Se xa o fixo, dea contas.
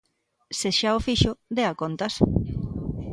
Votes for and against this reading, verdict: 2, 0, accepted